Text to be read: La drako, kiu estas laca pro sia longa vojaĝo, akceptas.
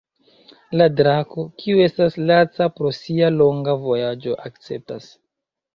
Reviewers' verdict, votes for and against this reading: accepted, 3, 1